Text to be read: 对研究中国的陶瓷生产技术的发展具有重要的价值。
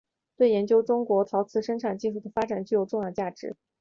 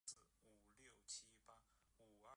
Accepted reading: first